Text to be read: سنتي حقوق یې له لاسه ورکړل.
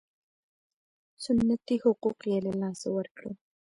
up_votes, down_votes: 1, 2